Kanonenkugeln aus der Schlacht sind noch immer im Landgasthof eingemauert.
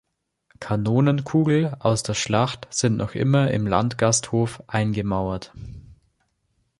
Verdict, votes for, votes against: rejected, 0, 3